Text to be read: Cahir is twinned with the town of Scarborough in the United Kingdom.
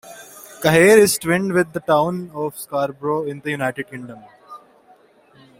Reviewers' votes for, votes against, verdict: 0, 2, rejected